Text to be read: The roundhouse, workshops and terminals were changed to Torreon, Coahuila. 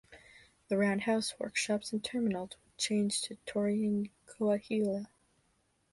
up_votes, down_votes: 1, 2